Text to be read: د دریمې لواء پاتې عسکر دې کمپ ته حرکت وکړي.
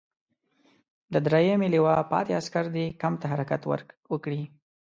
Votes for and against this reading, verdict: 2, 0, accepted